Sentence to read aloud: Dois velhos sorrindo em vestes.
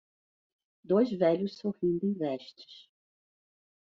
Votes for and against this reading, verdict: 2, 0, accepted